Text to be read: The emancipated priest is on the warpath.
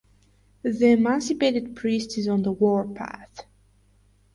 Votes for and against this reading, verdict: 4, 2, accepted